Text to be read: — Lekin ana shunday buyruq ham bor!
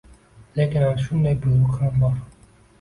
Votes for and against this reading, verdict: 2, 0, accepted